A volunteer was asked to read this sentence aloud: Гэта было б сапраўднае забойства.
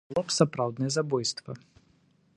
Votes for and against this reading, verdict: 0, 2, rejected